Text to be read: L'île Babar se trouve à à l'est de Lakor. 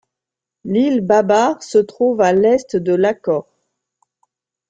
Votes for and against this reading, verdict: 0, 2, rejected